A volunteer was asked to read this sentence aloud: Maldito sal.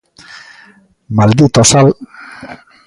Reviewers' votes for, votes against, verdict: 2, 0, accepted